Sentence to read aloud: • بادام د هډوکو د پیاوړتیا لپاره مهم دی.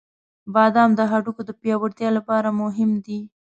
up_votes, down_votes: 2, 0